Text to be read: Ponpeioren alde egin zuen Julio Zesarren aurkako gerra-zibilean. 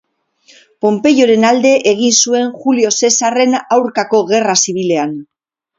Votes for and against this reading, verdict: 2, 0, accepted